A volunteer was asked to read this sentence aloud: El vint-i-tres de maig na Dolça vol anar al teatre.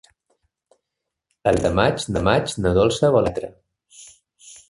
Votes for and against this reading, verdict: 0, 3, rejected